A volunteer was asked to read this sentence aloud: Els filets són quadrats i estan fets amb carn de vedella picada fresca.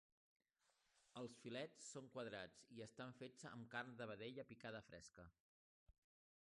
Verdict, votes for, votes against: accepted, 2, 1